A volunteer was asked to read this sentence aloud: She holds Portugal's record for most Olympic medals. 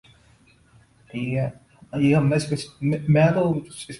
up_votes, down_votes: 0, 2